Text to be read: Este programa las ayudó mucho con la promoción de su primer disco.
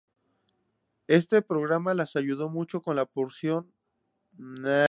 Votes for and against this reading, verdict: 0, 4, rejected